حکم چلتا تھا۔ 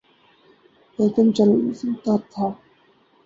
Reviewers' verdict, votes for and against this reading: rejected, 2, 4